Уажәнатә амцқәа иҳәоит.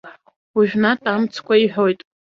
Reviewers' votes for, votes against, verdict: 2, 1, accepted